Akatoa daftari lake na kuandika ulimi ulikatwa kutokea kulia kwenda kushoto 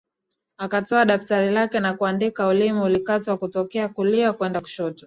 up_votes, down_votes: 2, 0